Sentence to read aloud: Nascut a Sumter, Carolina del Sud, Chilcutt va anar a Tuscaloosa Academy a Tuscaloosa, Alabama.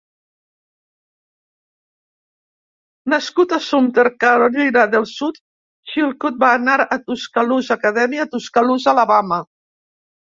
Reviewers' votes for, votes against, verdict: 0, 2, rejected